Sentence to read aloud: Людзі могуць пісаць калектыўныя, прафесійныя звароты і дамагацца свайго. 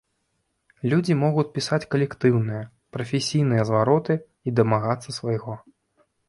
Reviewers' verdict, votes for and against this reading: rejected, 1, 3